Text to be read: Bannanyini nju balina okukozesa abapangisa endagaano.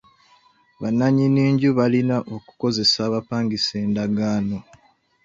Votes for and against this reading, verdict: 0, 2, rejected